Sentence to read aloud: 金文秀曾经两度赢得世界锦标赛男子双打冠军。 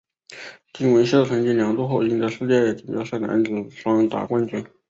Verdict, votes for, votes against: rejected, 1, 2